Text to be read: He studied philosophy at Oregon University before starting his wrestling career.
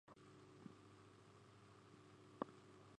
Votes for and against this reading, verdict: 0, 2, rejected